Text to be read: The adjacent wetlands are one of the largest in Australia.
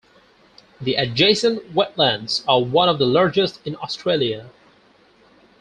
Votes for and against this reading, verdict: 4, 0, accepted